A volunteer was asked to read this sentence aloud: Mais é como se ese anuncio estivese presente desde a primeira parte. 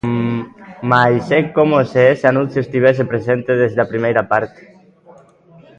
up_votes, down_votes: 2, 1